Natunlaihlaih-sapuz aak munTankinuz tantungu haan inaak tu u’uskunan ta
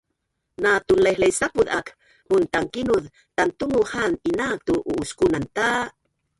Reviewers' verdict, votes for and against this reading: rejected, 1, 4